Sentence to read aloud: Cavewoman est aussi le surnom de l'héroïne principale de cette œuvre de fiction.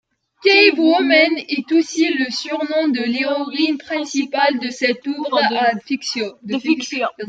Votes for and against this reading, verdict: 0, 2, rejected